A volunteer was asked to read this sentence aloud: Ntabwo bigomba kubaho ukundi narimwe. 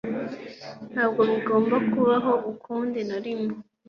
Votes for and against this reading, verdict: 2, 0, accepted